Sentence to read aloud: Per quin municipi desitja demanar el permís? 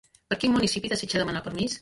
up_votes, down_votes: 0, 2